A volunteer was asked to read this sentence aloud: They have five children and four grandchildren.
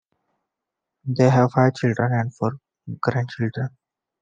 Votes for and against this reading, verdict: 0, 2, rejected